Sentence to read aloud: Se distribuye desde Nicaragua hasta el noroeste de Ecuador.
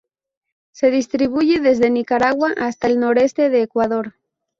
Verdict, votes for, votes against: rejected, 0, 2